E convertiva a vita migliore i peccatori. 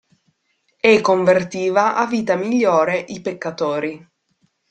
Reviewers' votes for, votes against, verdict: 2, 0, accepted